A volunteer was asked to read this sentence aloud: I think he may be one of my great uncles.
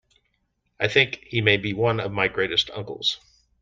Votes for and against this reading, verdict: 0, 2, rejected